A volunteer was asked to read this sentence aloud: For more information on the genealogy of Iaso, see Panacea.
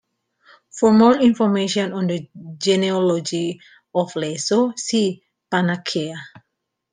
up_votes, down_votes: 0, 2